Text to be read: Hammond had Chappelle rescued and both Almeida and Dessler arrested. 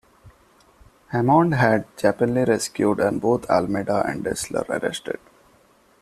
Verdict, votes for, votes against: rejected, 0, 2